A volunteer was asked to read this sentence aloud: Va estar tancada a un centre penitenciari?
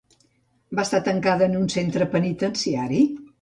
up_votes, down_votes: 1, 2